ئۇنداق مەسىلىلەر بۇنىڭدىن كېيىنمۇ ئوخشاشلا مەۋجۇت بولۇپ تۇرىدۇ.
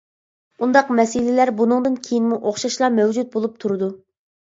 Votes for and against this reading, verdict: 2, 0, accepted